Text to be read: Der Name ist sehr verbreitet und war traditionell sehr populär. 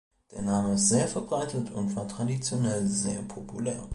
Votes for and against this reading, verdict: 2, 0, accepted